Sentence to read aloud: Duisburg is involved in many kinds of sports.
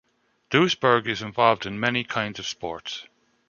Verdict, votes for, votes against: accepted, 2, 0